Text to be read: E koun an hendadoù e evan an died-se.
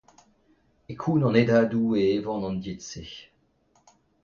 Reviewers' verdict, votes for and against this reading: accepted, 2, 0